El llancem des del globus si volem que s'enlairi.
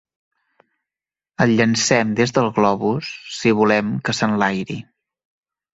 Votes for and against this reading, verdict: 2, 0, accepted